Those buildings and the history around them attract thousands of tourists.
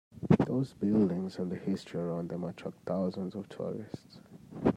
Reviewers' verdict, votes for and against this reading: rejected, 1, 2